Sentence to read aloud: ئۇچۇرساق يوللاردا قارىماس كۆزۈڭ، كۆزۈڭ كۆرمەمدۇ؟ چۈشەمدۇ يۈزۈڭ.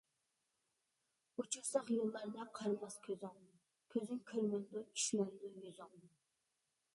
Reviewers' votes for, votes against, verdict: 0, 2, rejected